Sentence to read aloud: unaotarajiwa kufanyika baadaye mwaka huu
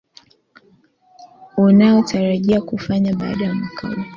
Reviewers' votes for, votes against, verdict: 0, 2, rejected